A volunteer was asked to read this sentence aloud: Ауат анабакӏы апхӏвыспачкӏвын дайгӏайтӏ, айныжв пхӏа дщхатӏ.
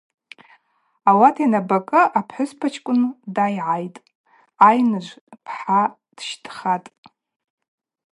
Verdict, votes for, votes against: rejected, 0, 2